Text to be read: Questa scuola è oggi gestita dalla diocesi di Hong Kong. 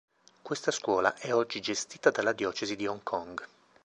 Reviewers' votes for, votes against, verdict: 2, 0, accepted